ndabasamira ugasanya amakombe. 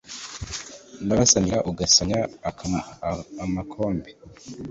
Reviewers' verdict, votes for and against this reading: rejected, 1, 2